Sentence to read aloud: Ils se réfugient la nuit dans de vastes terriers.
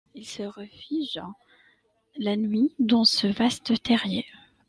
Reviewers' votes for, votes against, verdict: 1, 2, rejected